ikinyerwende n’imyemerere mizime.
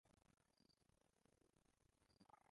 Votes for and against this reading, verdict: 0, 2, rejected